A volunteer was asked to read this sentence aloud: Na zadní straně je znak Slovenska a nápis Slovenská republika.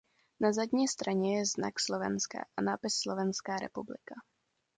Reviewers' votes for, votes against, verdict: 2, 0, accepted